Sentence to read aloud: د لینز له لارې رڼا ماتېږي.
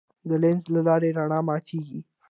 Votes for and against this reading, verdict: 2, 1, accepted